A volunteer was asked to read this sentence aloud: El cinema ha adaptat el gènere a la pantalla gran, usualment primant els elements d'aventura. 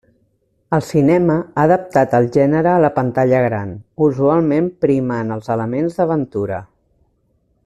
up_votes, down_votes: 2, 0